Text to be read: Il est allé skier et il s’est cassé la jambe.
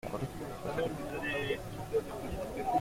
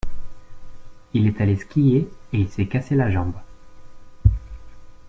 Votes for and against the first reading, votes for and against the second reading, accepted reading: 0, 2, 2, 0, second